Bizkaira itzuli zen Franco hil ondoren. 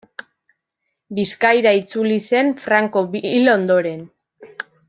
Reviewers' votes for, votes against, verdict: 0, 2, rejected